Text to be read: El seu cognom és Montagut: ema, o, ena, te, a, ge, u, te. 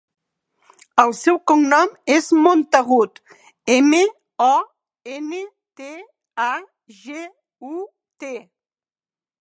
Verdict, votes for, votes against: rejected, 2, 4